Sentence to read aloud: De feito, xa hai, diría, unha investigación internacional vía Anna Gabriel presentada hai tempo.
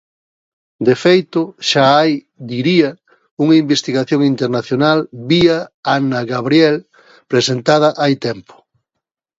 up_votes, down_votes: 2, 0